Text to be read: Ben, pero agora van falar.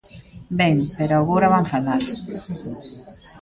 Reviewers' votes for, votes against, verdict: 2, 0, accepted